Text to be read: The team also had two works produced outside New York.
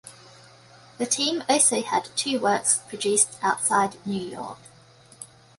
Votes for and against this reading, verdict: 2, 0, accepted